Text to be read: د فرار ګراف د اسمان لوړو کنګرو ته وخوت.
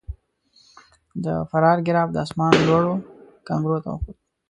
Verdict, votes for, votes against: rejected, 1, 2